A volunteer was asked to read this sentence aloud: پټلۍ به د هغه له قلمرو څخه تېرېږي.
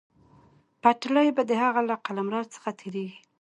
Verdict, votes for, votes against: accepted, 2, 0